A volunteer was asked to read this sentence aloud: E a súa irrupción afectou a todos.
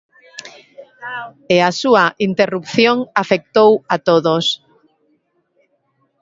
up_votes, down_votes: 1, 2